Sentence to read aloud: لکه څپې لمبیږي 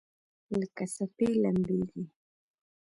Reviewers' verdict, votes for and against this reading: accepted, 2, 1